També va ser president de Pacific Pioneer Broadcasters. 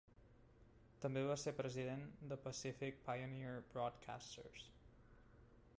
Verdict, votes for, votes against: rejected, 0, 2